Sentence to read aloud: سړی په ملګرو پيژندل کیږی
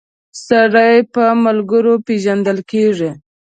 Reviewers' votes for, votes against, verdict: 2, 0, accepted